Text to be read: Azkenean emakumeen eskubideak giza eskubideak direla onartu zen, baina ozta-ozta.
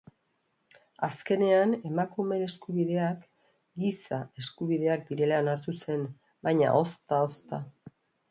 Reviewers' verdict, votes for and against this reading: accepted, 2, 1